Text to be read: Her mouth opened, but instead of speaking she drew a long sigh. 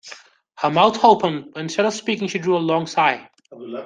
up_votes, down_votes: 0, 2